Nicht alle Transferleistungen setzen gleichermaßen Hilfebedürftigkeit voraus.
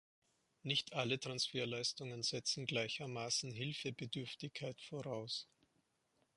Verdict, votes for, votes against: accepted, 3, 0